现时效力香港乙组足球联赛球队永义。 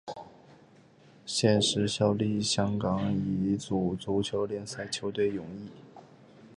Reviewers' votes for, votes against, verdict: 3, 0, accepted